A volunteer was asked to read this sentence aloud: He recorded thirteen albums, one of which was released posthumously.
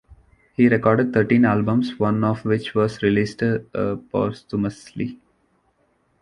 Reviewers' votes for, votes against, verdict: 0, 2, rejected